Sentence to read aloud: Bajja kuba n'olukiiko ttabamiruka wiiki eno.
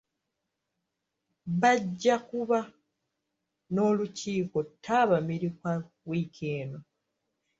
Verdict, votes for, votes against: rejected, 1, 2